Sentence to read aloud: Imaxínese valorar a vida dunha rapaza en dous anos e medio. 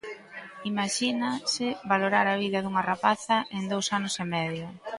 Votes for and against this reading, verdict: 0, 2, rejected